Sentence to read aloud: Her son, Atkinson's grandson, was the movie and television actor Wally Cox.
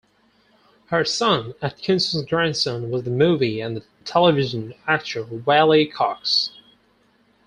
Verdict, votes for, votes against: rejected, 2, 4